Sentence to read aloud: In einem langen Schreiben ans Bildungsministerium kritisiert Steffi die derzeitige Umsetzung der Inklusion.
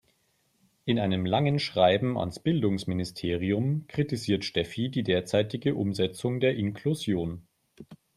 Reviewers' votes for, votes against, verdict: 3, 0, accepted